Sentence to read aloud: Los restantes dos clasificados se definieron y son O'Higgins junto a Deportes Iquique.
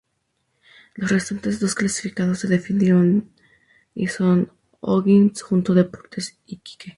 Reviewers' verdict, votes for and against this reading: accepted, 2, 0